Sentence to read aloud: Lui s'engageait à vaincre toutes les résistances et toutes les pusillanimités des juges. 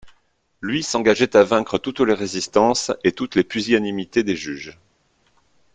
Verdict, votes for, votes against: accepted, 2, 0